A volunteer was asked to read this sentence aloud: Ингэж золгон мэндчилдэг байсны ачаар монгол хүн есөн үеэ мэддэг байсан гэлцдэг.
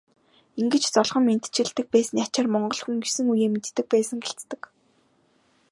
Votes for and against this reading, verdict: 2, 0, accepted